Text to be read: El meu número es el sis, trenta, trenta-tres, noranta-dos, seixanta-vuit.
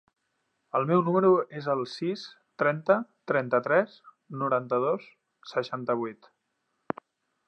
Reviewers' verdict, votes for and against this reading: accepted, 3, 0